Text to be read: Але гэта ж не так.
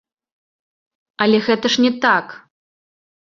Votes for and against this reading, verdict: 2, 1, accepted